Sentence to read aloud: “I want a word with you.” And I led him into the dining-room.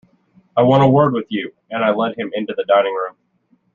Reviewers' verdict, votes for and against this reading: rejected, 1, 2